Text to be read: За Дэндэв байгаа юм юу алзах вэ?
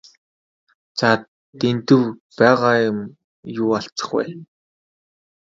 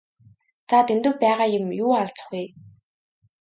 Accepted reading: second